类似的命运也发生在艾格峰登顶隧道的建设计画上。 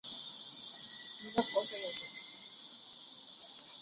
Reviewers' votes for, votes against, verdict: 0, 2, rejected